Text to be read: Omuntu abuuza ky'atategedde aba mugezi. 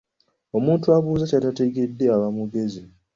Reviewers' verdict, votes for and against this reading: accepted, 2, 0